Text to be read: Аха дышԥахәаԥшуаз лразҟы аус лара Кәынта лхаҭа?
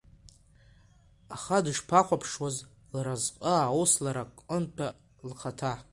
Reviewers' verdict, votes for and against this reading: accepted, 2, 1